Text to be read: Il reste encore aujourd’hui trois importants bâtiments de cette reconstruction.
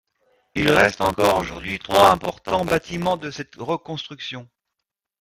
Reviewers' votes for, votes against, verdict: 0, 2, rejected